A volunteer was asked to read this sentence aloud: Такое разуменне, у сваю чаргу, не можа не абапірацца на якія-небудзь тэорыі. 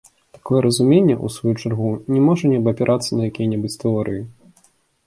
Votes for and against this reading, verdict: 3, 0, accepted